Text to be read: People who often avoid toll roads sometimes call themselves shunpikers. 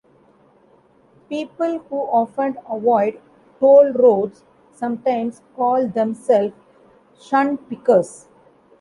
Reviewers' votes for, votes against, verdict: 2, 1, accepted